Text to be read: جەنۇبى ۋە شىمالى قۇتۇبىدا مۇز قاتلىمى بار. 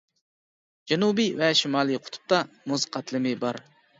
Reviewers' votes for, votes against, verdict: 0, 2, rejected